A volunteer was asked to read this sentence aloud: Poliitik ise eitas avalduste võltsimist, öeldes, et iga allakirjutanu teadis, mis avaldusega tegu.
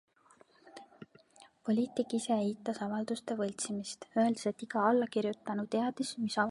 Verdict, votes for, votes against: rejected, 1, 2